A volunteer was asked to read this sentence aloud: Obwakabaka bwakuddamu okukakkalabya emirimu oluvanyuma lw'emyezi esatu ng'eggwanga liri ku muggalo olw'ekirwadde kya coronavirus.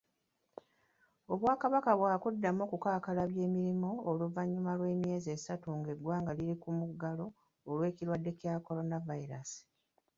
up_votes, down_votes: 0, 3